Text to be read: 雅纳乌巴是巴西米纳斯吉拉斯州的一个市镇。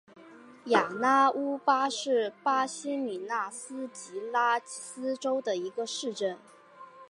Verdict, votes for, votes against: accepted, 4, 1